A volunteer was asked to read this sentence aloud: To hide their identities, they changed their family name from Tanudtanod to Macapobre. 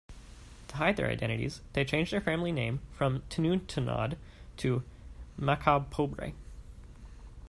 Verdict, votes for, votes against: accepted, 2, 0